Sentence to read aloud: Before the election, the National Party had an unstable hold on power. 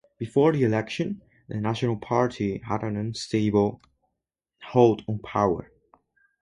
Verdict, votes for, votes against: rejected, 2, 2